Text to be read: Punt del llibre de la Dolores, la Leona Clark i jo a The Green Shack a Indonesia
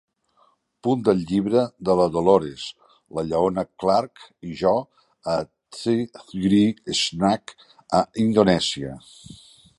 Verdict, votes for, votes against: rejected, 0, 2